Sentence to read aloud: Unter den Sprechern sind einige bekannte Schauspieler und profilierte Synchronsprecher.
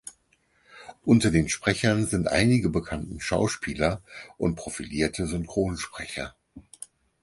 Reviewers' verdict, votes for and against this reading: rejected, 2, 4